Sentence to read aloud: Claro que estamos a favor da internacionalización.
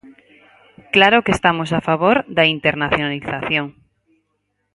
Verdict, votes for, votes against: accepted, 4, 0